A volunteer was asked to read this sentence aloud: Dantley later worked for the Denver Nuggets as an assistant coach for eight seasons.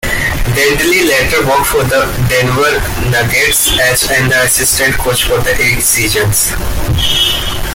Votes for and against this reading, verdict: 1, 2, rejected